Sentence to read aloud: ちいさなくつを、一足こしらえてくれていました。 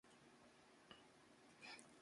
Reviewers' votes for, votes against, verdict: 0, 4, rejected